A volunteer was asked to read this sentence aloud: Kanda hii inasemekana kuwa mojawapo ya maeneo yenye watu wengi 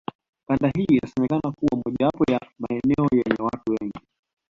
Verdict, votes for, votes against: accepted, 2, 0